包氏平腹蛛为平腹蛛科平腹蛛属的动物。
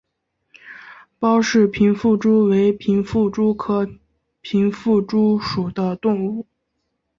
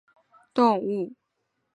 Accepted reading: first